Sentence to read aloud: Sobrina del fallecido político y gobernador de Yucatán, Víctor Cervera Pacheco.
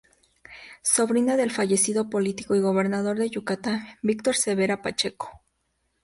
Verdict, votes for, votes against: accepted, 2, 0